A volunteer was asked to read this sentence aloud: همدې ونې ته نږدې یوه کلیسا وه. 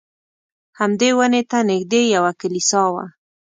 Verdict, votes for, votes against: accepted, 2, 0